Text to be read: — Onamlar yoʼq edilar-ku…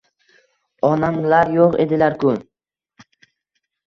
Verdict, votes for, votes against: accepted, 2, 0